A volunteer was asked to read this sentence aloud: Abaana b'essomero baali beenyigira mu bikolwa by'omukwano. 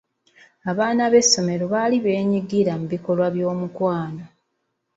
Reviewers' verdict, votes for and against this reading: accepted, 3, 0